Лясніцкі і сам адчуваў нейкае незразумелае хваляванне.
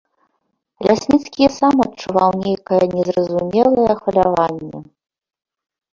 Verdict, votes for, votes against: rejected, 0, 2